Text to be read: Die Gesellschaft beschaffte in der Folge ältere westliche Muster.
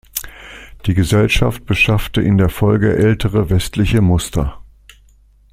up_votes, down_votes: 2, 0